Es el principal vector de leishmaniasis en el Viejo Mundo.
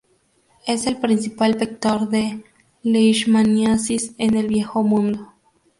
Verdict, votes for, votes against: rejected, 0, 2